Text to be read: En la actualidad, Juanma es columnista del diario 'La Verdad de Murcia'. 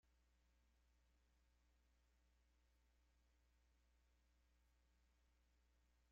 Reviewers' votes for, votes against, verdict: 0, 2, rejected